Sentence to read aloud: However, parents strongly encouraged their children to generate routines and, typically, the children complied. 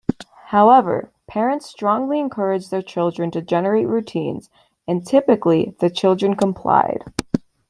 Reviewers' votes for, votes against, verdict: 2, 0, accepted